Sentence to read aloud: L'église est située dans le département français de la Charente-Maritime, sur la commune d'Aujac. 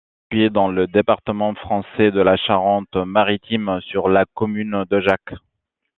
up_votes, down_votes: 1, 2